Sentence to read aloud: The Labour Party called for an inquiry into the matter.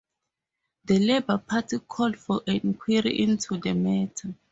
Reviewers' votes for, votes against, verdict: 0, 2, rejected